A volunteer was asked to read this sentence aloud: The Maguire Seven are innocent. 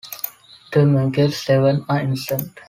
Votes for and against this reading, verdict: 1, 2, rejected